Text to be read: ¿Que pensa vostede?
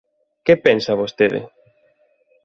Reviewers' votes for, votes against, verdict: 2, 0, accepted